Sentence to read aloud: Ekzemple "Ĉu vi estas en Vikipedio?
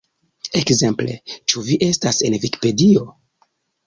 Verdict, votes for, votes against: accepted, 2, 1